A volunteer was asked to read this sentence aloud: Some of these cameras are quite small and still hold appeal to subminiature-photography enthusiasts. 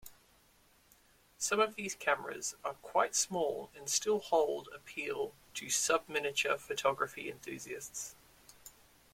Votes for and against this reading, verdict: 2, 0, accepted